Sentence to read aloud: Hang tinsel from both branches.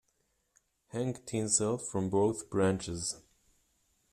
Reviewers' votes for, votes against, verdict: 2, 0, accepted